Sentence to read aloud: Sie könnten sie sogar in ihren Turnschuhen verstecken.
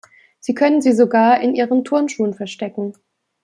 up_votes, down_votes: 0, 2